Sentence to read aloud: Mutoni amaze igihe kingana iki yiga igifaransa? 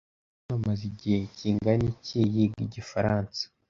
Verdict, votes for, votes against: rejected, 1, 3